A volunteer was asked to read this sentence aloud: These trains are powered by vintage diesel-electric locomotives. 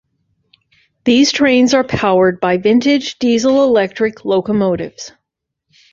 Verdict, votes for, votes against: accepted, 2, 0